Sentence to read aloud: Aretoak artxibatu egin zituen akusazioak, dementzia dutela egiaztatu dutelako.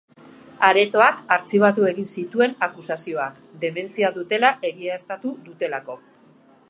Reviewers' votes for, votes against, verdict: 3, 1, accepted